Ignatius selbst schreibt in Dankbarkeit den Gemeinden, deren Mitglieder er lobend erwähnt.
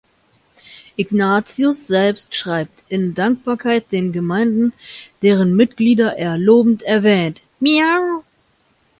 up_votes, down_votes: 0, 2